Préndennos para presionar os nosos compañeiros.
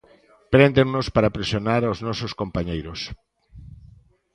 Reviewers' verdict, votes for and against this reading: accepted, 2, 0